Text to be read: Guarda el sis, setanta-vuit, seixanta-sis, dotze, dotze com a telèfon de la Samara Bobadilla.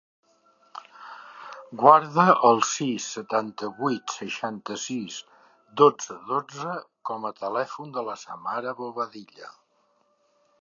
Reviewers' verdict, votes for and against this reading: accepted, 2, 0